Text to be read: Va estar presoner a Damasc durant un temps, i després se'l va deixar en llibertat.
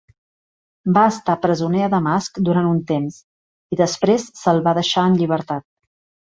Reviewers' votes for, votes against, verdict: 3, 0, accepted